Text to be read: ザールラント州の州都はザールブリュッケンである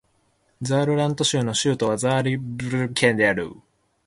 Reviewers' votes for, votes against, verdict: 0, 2, rejected